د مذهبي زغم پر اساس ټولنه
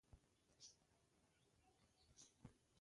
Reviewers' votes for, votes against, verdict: 0, 2, rejected